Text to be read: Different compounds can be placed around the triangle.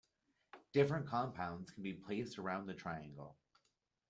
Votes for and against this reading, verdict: 2, 0, accepted